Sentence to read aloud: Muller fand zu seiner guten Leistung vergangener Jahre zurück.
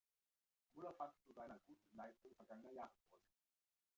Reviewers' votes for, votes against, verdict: 0, 2, rejected